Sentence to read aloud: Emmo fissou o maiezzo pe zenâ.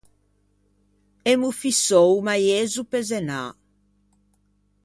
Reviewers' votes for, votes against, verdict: 2, 0, accepted